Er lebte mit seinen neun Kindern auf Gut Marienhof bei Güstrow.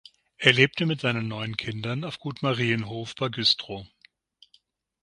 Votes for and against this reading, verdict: 6, 0, accepted